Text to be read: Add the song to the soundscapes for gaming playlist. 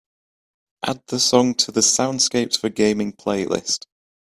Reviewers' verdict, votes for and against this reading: accepted, 2, 0